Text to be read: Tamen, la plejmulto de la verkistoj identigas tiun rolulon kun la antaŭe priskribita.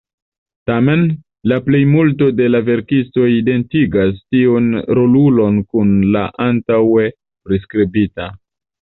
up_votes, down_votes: 2, 0